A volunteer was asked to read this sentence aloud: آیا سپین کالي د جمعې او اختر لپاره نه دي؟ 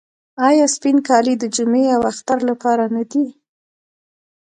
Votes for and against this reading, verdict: 0, 2, rejected